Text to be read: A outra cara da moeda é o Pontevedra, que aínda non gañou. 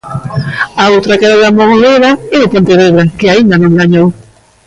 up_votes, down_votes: 0, 2